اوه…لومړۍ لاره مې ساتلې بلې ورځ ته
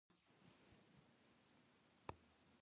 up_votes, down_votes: 0, 2